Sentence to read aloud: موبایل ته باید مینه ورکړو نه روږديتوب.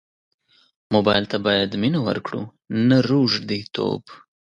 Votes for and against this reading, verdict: 2, 0, accepted